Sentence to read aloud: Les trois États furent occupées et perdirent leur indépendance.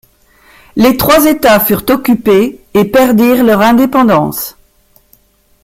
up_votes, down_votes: 2, 1